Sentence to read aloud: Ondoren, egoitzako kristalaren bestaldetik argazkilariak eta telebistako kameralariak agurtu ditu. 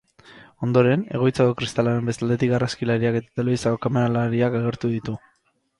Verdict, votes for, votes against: rejected, 0, 4